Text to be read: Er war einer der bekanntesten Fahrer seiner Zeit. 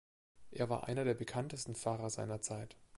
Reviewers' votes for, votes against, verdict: 3, 0, accepted